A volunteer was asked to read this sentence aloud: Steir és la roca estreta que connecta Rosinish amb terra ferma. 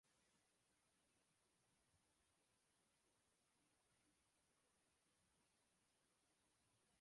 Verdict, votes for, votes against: rejected, 1, 2